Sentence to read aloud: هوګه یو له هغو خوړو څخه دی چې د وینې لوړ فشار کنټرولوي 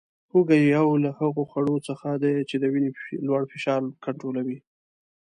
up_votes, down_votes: 2, 0